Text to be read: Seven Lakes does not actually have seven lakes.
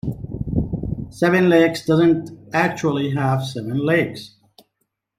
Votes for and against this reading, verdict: 2, 1, accepted